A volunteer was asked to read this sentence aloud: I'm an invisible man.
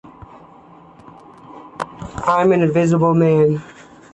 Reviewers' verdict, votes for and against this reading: accepted, 2, 0